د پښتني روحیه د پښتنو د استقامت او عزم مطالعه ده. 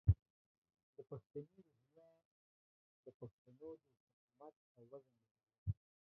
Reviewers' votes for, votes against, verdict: 0, 2, rejected